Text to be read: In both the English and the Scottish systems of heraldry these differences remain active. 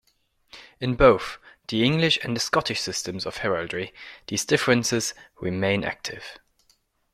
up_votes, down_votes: 0, 2